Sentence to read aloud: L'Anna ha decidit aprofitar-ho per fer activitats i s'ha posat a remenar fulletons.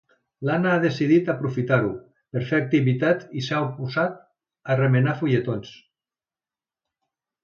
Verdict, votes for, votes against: rejected, 1, 3